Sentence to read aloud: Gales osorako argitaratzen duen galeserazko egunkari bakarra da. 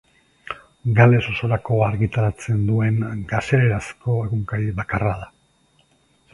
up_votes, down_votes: 1, 2